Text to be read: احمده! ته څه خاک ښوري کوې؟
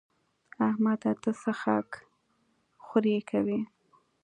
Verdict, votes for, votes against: accepted, 2, 0